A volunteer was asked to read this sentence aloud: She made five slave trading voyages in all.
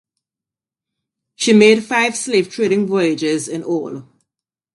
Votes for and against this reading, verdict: 2, 0, accepted